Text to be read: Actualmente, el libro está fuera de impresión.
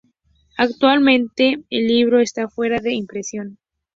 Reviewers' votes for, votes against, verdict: 2, 0, accepted